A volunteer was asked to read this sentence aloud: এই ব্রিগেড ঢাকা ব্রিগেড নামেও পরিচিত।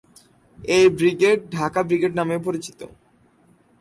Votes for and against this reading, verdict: 2, 0, accepted